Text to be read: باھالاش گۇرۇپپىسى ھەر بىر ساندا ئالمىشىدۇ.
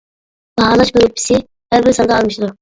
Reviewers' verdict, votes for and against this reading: rejected, 1, 2